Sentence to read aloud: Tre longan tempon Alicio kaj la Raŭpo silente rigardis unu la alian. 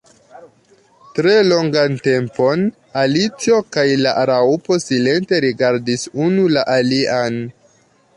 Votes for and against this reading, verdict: 2, 1, accepted